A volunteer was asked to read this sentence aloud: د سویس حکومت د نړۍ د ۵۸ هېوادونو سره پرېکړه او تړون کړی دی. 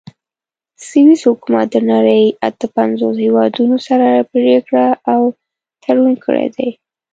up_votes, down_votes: 0, 2